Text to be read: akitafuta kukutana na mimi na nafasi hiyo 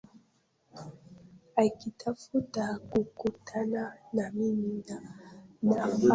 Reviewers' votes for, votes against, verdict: 0, 2, rejected